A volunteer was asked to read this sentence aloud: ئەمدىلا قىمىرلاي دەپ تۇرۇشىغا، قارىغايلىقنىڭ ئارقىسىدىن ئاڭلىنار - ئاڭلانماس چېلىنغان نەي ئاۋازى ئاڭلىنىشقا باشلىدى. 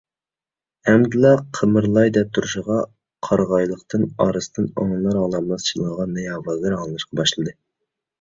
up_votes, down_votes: 2, 1